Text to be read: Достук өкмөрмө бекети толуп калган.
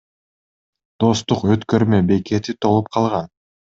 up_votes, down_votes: 1, 2